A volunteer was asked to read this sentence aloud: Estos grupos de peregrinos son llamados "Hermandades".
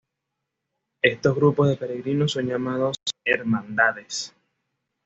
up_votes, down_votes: 2, 0